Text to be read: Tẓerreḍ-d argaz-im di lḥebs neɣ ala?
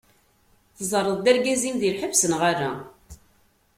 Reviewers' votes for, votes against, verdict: 2, 0, accepted